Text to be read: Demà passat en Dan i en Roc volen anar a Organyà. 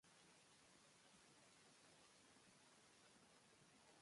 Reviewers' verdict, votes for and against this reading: rejected, 0, 2